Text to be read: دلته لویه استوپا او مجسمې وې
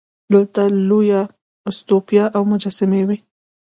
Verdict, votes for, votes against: accepted, 2, 0